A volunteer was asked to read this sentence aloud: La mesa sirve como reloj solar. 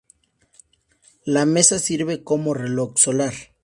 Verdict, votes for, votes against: accepted, 4, 0